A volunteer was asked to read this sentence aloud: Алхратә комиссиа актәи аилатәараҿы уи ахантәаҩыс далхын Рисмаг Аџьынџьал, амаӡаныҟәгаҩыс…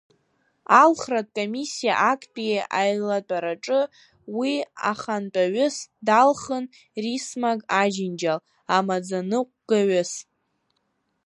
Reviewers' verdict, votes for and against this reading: rejected, 1, 3